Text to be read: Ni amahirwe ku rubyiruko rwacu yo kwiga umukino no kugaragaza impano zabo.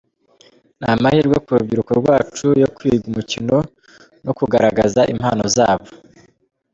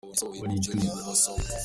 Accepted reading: first